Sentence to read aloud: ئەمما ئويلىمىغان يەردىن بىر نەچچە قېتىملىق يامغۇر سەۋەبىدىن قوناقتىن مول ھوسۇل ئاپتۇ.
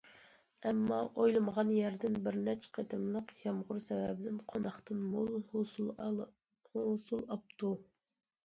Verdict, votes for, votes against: rejected, 0, 2